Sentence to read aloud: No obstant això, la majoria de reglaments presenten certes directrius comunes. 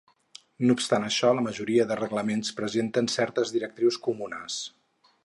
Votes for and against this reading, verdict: 2, 0, accepted